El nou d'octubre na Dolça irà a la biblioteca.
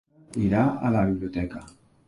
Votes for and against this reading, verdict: 0, 2, rejected